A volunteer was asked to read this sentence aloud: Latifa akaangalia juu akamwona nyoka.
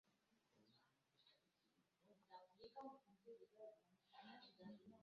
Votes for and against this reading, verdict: 0, 2, rejected